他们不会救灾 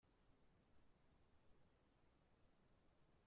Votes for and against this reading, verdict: 0, 2, rejected